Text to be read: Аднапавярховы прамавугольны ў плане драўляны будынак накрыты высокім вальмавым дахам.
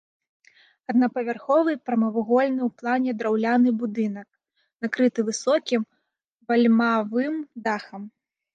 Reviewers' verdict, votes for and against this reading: rejected, 1, 3